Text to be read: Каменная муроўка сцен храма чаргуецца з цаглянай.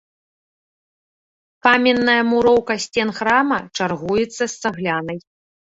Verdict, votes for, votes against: accepted, 2, 0